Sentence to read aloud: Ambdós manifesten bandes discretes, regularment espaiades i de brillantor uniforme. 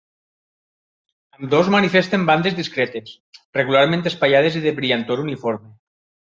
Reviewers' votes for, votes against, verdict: 2, 3, rejected